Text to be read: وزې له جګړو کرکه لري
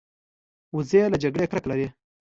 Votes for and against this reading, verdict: 2, 0, accepted